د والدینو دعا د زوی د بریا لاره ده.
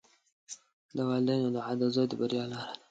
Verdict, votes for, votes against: rejected, 0, 2